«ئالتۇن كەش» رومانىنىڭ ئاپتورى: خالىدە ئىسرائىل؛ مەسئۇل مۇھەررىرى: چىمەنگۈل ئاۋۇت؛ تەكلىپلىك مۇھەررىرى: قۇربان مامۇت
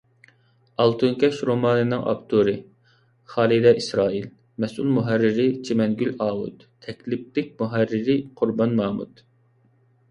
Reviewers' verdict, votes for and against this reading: accepted, 2, 1